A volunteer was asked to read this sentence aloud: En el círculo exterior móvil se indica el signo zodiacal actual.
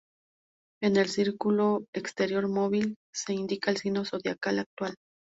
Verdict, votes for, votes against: accepted, 4, 0